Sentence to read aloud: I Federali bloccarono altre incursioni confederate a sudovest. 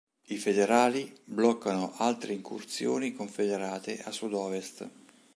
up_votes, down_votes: 0, 2